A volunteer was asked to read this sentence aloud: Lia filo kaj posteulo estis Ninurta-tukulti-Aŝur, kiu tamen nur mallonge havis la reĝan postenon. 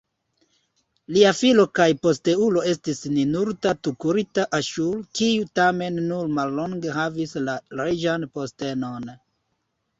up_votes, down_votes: 2, 0